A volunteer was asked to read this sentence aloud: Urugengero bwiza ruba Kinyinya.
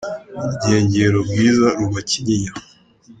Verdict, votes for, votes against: accepted, 2, 0